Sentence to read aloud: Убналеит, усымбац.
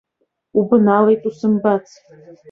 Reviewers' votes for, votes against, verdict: 1, 3, rejected